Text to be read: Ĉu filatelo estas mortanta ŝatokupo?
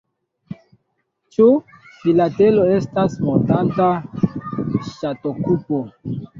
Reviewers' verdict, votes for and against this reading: rejected, 0, 2